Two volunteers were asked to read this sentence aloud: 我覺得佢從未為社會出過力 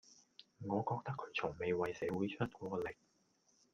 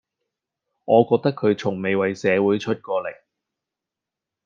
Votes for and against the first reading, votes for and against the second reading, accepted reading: 0, 2, 2, 0, second